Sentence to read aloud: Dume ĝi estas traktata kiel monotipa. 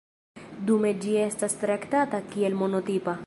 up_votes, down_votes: 2, 0